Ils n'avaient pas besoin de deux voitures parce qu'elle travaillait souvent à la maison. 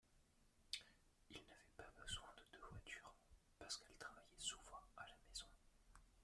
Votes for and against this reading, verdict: 0, 2, rejected